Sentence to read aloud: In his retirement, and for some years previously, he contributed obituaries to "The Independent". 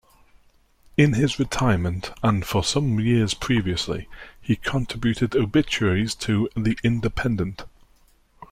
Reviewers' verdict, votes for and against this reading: rejected, 0, 2